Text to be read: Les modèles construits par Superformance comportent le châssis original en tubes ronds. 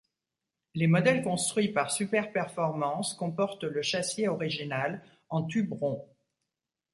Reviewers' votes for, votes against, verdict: 0, 2, rejected